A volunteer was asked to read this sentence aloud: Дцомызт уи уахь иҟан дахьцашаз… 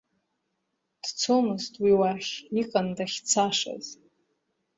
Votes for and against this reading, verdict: 0, 2, rejected